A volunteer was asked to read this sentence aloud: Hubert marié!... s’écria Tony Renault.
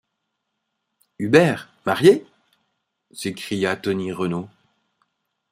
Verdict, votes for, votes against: accepted, 5, 0